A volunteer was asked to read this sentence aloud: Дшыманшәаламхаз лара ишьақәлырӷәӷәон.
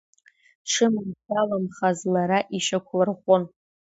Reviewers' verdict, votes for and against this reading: accepted, 2, 1